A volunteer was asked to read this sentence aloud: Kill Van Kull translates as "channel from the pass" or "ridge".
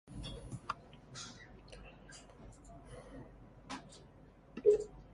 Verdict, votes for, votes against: rejected, 0, 2